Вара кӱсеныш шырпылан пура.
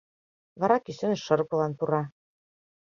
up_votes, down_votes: 2, 0